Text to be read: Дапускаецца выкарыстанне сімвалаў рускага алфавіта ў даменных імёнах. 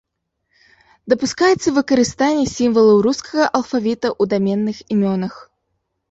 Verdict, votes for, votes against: accepted, 2, 0